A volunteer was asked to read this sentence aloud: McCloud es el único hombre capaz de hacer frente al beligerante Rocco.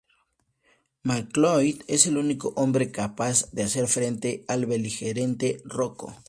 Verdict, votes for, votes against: rejected, 0, 2